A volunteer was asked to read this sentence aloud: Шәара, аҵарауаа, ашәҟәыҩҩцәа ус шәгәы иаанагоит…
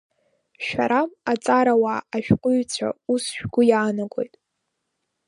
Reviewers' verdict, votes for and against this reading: rejected, 1, 2